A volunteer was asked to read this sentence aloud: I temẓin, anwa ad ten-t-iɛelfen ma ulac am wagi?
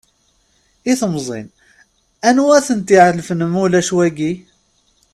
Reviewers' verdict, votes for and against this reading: rejected, 0, 2